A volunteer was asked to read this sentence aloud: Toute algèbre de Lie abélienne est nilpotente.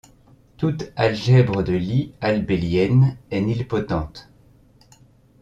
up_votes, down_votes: 0, 2